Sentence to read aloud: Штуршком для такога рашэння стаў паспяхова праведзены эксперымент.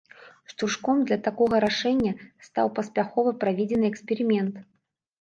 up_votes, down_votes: 0, 2